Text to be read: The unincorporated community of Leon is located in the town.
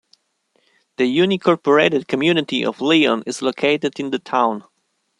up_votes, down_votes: 0, 2